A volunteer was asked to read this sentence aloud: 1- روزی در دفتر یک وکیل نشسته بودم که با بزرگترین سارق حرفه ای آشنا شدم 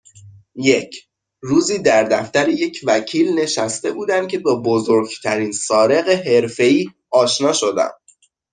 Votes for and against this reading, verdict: 0, 2, rejected